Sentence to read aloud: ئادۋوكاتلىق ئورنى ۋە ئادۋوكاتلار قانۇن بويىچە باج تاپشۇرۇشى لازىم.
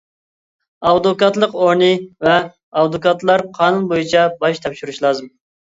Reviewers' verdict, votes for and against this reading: accepted, 2, 1